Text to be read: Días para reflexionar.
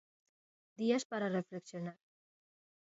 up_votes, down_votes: 2, 0